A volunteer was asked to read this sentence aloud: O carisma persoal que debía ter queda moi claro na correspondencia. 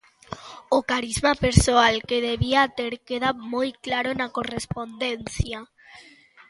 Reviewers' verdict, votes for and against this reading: accepted, 2, 0